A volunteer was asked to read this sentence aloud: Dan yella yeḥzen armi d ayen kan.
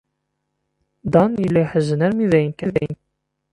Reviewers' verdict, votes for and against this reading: rejected, 0, 2